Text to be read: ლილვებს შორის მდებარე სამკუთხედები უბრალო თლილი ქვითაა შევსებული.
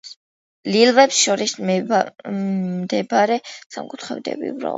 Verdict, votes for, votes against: rejected, 0, 2